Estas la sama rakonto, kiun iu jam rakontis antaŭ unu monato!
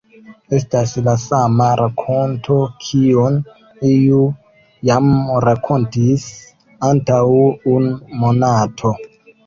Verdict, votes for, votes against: accepted, 2, 0